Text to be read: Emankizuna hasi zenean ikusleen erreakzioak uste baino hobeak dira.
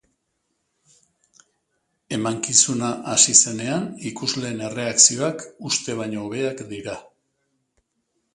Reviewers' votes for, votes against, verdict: 3, 0, accepted